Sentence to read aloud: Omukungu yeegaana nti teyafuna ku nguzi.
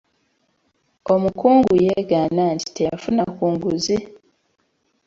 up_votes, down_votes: 2, 0